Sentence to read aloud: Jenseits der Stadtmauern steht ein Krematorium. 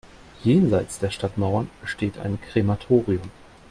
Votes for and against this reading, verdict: 2, 0, accepted